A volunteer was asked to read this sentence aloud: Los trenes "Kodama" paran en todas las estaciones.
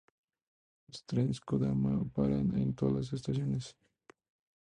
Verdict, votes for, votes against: rejected, 0, 2